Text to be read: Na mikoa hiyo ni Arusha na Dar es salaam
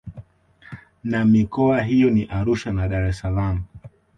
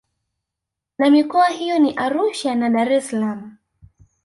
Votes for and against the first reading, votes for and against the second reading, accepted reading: 2, 0, 1, 2, first